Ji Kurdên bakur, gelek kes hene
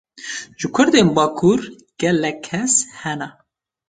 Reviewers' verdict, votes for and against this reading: rejected, 1, 2